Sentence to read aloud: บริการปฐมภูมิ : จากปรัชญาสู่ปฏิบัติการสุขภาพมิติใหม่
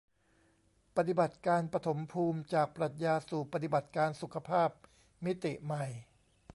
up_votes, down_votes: 1, 2